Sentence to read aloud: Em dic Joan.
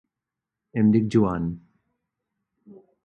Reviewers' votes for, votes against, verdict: 6, 0, accepted